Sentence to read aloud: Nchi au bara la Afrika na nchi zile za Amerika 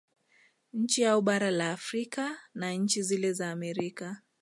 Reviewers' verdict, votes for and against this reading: accepted, 2, 1